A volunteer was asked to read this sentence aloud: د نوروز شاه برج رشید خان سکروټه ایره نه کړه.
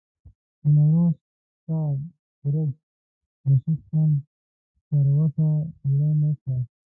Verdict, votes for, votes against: rejected, 1, 2